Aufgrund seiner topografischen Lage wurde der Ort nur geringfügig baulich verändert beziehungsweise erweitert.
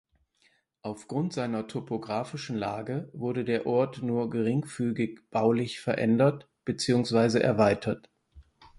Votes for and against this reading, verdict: 6, 0, accepted